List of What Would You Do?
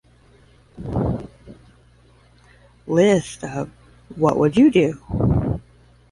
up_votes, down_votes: 5, 5